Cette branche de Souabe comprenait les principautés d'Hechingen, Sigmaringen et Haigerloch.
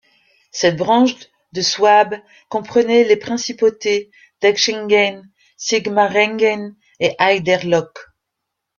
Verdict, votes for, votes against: accepted, 2, 1